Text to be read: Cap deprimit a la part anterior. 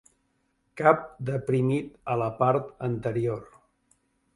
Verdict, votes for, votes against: accepted, 2, 0